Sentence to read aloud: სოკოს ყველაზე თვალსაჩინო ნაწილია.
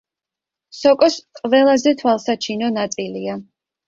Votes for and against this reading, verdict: 2, 0, accepted